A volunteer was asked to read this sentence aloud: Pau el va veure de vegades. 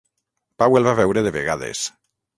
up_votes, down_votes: 3, 3